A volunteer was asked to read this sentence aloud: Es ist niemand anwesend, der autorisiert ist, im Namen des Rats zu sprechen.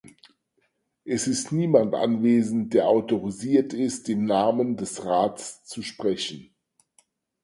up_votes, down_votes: 4, 0